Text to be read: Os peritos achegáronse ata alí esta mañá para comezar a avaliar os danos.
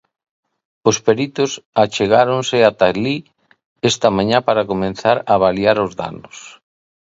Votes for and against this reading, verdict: 0, 3, rejected